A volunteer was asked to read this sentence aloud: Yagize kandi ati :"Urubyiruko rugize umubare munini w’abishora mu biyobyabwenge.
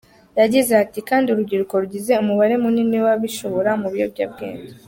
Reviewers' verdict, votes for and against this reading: rejected, 1, 2